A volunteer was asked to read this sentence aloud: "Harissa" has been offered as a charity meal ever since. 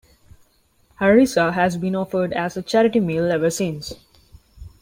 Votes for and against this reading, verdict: 2, 0, accepted